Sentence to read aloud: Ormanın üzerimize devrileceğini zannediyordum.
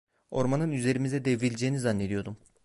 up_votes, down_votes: 2, 0